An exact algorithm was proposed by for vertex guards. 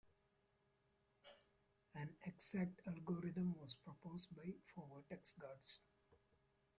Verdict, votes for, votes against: rejected, 1, 2